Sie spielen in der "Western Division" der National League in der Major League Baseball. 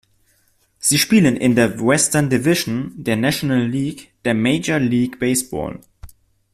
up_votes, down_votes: 1, 2